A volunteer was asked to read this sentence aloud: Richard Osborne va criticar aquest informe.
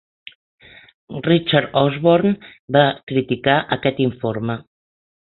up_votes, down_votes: 4, 0